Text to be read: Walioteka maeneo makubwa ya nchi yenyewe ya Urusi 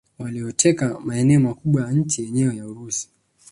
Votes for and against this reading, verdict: 2, 1, accepted